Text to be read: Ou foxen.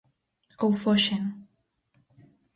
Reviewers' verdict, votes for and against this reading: accepted, 4, 0